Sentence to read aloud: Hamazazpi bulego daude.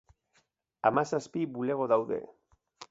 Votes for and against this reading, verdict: 3, 0, accepted